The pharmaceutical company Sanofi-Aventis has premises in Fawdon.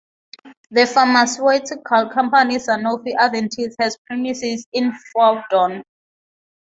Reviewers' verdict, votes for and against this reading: accepted, 3, 0